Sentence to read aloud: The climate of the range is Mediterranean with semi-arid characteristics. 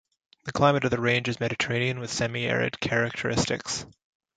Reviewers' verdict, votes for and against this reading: accepted, 2, 0